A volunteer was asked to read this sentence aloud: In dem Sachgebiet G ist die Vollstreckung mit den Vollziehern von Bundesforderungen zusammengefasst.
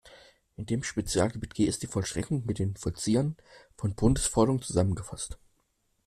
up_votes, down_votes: 0, 2